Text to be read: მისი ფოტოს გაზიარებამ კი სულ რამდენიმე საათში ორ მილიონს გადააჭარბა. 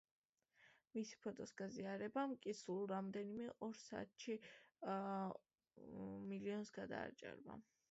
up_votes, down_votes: 0, 2